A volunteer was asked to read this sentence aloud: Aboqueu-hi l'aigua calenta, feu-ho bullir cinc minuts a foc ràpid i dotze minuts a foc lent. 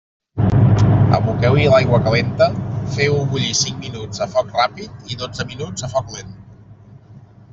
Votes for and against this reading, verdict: 2, 0, accepted